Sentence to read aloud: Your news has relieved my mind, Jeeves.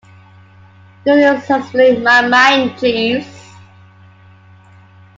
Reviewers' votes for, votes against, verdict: 1, 2, rejected